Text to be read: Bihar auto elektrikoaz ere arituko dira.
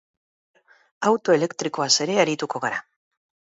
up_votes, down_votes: 2, 10